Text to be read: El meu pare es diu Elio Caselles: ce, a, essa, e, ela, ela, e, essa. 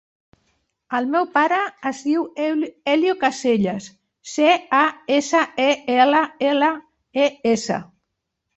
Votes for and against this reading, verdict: 0, 2, rejected